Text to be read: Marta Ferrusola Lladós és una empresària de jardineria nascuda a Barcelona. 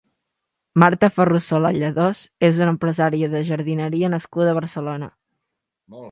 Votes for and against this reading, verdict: 1, 2, rejected